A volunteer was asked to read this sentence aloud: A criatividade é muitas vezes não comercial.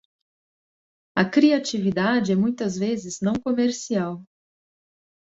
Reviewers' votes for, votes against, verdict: 2, 0, accepted